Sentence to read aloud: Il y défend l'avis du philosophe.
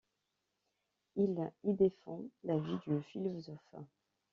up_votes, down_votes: 1, 2